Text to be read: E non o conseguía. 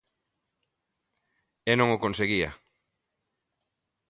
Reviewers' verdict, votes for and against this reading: accepted, 2, 0